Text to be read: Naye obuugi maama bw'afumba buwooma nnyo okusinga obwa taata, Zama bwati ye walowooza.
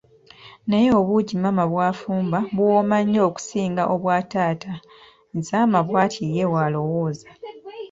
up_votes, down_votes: 3, 0